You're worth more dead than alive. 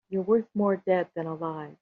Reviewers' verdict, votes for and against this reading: accepted, 3, 0